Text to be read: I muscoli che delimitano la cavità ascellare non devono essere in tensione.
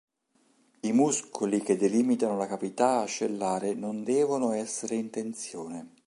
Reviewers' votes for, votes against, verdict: 2, 0, accepted